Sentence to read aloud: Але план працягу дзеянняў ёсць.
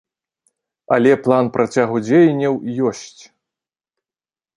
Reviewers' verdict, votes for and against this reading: accepted, 2, 0